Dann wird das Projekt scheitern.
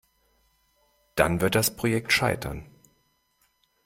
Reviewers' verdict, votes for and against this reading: accepted, 2, 0